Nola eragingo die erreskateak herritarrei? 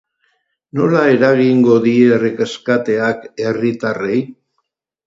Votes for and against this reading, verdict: 2, 4, rejected